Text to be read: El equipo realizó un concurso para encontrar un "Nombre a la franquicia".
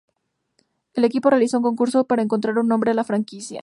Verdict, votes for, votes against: accepted, 2, 0